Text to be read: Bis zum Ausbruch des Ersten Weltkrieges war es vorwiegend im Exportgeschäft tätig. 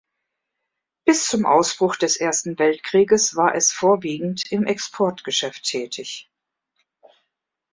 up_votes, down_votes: 3, 0